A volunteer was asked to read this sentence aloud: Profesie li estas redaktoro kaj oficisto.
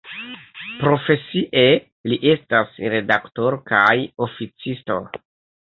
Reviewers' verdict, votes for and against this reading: accepted, 2, 1